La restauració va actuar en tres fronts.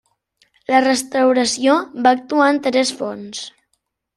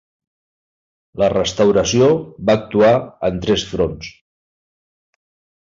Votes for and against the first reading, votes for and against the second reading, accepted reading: 1, 2, 2, 0, second